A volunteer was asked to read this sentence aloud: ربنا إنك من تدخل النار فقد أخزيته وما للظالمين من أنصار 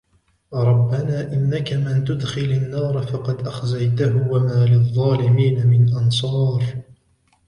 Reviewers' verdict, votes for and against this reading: rejected, 1, 2